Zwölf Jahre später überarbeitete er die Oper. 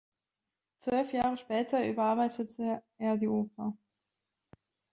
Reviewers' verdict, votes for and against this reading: accepted, 2, 1